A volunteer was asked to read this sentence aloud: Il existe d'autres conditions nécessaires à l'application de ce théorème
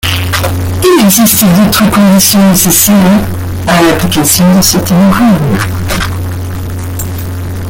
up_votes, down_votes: 0, 2